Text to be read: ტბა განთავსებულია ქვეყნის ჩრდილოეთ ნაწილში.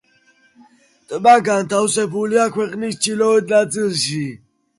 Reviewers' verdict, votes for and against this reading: accepted, 2, 0